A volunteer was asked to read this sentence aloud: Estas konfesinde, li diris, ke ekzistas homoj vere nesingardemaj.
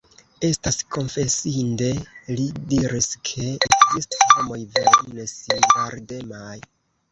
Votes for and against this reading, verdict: 0, 2, rejected